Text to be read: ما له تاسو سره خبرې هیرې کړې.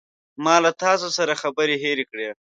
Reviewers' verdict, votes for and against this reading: accepted, 2, 0